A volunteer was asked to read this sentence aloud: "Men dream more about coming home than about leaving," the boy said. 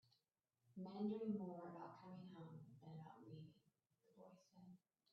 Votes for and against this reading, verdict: 0, 2, rejected